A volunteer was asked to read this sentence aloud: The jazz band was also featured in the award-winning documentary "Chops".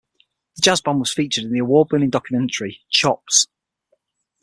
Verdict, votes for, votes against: rejected, 3, 6